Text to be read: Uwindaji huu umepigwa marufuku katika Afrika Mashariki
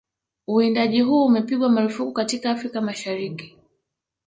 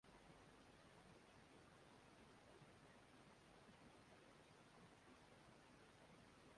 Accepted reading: first